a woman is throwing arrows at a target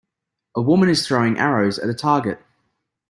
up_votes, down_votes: 2, 0